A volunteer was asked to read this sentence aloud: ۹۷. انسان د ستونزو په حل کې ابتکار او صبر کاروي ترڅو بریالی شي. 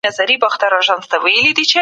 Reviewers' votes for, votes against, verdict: 0, 2, rejected